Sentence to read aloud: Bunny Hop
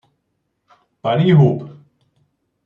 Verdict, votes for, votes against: rejected, 1, 2